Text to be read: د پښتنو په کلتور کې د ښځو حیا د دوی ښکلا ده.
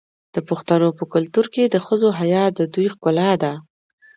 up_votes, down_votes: 2, 0